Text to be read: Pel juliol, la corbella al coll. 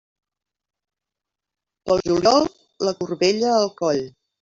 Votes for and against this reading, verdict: 1, 2, rejected